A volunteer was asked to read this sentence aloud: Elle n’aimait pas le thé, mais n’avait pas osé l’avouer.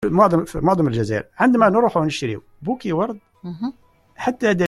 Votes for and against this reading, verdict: 0, 2, rejected